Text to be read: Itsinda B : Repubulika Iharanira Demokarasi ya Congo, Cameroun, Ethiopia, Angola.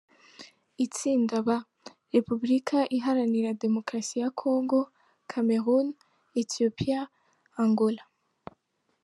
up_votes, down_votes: 1, 2